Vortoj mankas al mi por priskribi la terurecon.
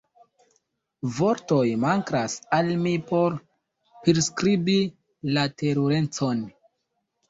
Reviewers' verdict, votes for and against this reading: rejected, 1, 2